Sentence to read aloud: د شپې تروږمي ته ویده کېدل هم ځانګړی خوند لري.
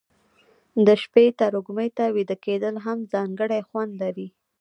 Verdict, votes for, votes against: rejected, 1, 2